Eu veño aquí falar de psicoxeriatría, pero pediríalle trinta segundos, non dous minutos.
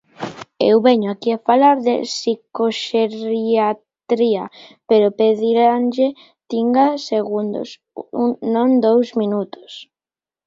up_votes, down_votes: 0, 2